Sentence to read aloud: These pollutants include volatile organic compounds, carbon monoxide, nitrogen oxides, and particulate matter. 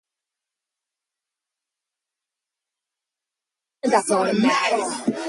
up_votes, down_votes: 0, 2